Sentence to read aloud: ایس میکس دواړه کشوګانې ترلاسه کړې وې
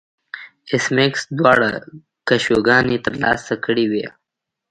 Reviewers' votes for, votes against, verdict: 1, 2, rejected